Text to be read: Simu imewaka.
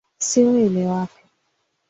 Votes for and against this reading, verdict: 4, 1, accepted